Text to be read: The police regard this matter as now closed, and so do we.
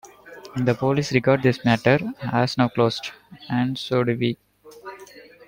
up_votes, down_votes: 2, 0